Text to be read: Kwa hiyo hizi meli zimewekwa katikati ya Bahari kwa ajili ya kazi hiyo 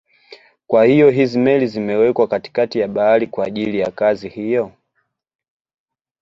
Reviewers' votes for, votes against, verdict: 0, 2, rejected